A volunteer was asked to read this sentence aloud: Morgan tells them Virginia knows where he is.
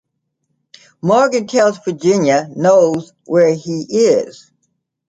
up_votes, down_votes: 0, 3